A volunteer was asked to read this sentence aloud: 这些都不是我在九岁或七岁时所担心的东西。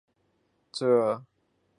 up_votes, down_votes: 0, 4